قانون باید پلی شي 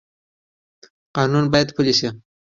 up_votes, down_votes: 2, 0